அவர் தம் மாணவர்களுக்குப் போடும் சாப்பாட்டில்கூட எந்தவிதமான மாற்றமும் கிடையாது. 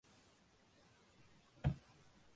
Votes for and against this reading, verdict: 0, 3, rejected